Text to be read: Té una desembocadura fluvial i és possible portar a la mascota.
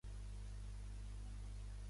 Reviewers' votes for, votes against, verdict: 0, 2, rejected